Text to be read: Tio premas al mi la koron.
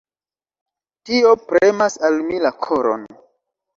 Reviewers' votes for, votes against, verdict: 1, 2, rejected